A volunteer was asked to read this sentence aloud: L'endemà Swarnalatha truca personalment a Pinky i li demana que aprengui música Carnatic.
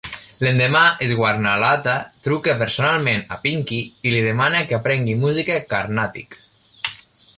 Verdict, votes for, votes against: accepted, 2, 0